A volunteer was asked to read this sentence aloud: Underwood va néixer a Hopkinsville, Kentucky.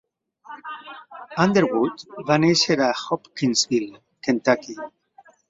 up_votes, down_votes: 3, 0